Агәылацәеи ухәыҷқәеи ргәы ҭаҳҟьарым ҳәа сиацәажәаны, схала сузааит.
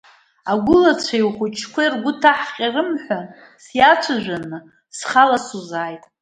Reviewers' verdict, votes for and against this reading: accepted, 2, 0